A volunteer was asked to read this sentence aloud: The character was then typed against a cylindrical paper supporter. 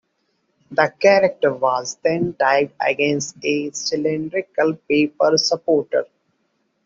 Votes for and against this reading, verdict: 2, 0, accepted